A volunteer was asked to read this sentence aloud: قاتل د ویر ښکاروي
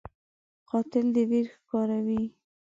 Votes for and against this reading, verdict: 2, 0, accepted